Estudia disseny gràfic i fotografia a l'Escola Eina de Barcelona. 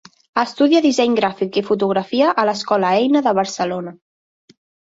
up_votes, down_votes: 3, 0